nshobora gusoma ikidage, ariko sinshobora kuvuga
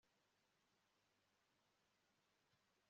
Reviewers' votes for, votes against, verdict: 1, 2, rejected